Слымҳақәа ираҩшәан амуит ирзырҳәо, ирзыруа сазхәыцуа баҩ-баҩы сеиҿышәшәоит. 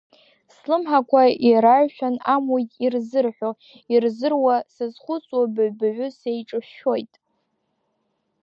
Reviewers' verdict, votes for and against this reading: rejected, 1, 2